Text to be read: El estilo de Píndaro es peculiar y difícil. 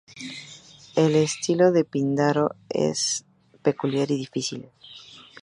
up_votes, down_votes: 2, 0